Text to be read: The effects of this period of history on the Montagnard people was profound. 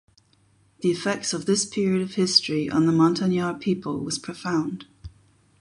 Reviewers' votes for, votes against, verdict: 8, 0, accepted